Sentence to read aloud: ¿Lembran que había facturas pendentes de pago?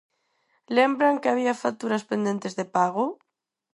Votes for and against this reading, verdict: 4, 0, accepted